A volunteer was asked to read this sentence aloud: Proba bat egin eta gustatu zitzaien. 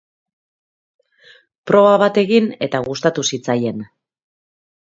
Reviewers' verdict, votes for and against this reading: accepted, 3, 0